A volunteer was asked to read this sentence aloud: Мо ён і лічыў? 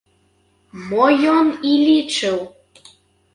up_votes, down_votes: 0, 3